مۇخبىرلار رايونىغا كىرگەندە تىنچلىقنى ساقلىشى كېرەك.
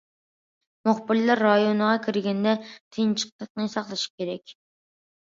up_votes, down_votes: 1, 2